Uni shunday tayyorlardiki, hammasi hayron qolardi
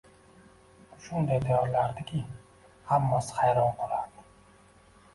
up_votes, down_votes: 2, 0